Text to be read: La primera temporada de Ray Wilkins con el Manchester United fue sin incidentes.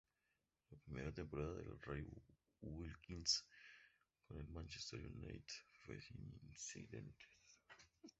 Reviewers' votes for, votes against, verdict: 2, 0, accepted